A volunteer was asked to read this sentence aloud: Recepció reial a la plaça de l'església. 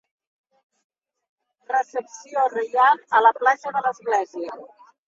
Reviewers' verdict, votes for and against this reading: rejected, 1, 2